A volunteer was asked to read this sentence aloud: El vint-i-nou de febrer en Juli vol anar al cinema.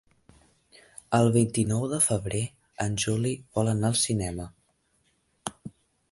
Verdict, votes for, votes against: accepted, 2, 0